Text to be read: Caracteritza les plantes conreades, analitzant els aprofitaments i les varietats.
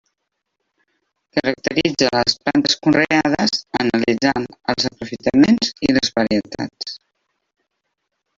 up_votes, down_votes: 0, 2